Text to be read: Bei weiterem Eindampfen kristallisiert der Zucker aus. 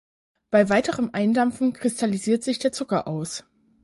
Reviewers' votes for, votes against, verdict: 0, 4, rejected